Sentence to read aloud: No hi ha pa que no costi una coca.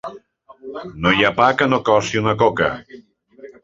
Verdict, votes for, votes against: rejected, 0, 2